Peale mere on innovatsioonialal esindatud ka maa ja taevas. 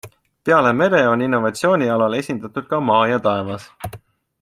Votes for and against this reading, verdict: 2, 0, accepted